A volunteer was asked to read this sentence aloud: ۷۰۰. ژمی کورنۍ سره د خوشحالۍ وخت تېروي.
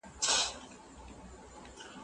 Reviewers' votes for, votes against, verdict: 0, 2, rejected